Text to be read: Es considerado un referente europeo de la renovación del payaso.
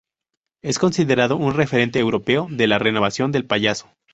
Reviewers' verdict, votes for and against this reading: rejected, 0, 2